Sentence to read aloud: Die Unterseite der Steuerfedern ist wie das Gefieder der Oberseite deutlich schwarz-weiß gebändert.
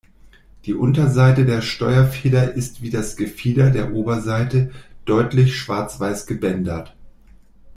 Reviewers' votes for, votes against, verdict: 0, 2, rejected